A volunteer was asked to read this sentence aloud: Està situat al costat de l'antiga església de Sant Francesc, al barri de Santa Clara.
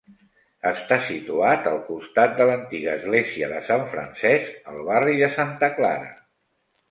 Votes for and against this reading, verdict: 3, 0, accepted